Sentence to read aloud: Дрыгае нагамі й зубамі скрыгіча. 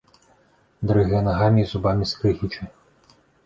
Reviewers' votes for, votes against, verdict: 2, 0, accepted